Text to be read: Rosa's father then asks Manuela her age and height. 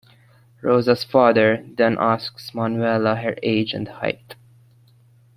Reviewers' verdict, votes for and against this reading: accepted, 2, 0